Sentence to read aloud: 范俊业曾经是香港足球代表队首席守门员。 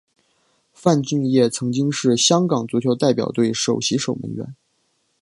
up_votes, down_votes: 1, 2